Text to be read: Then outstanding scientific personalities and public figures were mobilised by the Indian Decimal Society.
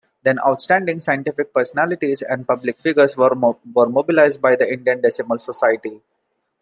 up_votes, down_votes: 1, 2